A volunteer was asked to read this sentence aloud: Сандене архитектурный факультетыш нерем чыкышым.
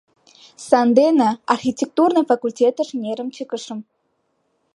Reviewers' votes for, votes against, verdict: 2, 1, accepted